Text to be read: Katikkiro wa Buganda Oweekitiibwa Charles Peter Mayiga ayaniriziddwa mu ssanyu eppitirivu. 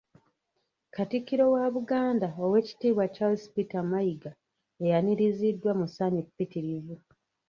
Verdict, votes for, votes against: rejected, 0, 2